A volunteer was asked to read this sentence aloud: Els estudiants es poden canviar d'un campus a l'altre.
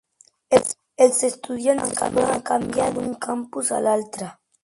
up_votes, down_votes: 0, 2